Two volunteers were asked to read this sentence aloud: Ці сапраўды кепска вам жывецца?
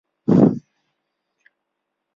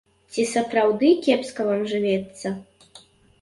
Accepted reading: second